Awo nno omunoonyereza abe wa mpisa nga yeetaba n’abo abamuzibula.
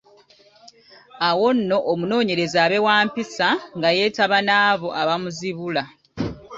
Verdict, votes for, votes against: accepted, 2, 1